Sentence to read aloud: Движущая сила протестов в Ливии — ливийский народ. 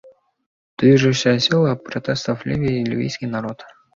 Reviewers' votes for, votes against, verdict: 2, 0, accepted